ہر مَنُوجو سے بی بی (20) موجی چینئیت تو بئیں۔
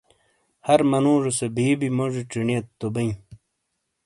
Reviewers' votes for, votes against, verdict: 0, 2, rejected